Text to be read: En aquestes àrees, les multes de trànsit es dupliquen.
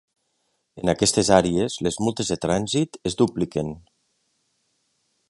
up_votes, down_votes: 3, 0